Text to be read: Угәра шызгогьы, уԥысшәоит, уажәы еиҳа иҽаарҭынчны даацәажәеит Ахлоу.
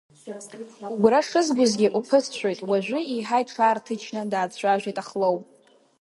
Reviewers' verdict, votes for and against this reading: accepted, 2, 0